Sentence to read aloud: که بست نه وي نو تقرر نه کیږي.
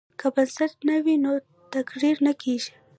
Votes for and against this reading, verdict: 1, 2, rejected